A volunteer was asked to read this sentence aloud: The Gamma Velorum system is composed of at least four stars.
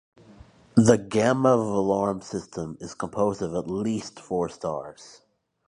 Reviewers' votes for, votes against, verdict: 2, 0, accepted